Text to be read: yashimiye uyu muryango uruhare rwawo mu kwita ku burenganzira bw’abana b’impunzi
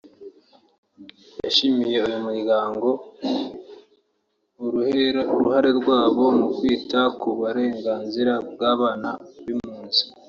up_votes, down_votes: 1, 2